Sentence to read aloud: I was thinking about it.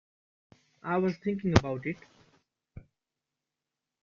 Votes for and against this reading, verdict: 3, 1, accepted